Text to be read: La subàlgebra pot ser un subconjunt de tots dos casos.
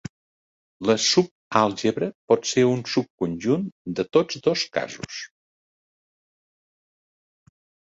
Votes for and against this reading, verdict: 3, 0, accepted